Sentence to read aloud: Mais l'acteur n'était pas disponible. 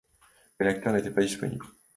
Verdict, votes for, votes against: accepted, 2, 0